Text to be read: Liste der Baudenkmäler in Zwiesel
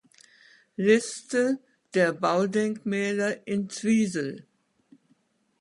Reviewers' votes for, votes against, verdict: 2, 0, accepted